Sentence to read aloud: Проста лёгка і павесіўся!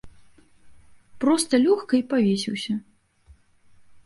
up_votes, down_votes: 2, 0